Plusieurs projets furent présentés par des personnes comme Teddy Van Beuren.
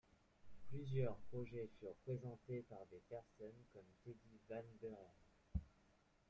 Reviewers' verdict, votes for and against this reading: rejected, 1, 2